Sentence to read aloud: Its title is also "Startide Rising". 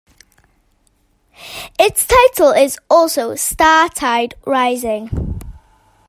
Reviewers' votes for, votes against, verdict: 2, 0, accepted